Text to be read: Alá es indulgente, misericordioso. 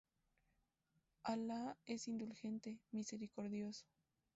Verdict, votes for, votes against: accepted, 2, 0